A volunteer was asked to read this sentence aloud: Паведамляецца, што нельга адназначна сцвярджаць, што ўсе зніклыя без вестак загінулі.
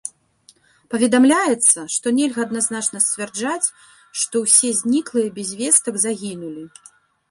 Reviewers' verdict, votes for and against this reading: rejected, 0, 2